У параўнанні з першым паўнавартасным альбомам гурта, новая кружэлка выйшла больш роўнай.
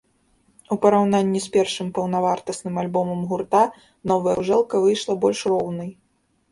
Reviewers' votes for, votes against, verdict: 0, 2, rejected